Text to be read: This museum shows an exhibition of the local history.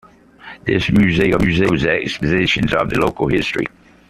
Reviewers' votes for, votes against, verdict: 0, 2, rejected